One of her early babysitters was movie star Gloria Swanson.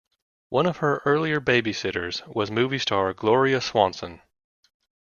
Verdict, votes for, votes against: rejected, 0, 2